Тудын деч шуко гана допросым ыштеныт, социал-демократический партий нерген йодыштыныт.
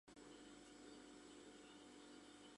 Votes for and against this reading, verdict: 1, 2, rejected